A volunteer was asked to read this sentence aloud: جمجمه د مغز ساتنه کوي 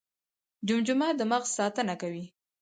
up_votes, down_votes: 4, 0